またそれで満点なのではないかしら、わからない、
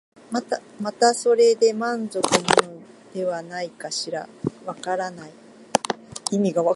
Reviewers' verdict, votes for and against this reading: rejected, 1, 2